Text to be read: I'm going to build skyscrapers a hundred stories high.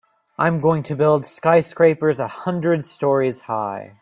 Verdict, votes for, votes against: accepted, 2, 0